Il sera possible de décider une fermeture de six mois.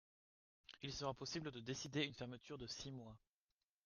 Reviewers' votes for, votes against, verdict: 2, 0, accepted